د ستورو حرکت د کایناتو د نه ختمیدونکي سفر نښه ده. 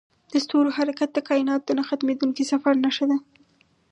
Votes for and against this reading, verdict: 4, 0, accepted